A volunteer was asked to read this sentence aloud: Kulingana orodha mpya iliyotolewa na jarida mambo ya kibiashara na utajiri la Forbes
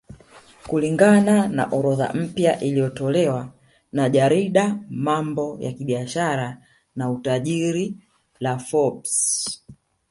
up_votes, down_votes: 2, 1